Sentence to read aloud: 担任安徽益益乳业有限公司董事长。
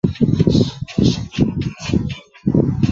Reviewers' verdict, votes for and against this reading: rejected, 0, 5